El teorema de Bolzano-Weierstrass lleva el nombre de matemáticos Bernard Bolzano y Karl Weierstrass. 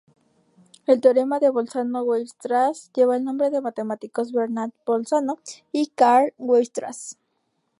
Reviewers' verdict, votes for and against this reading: rejected, 4, 4